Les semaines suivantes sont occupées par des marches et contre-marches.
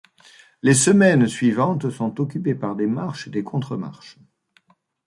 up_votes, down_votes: 1, 2